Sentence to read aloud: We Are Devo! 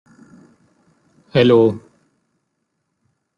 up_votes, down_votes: 0, 2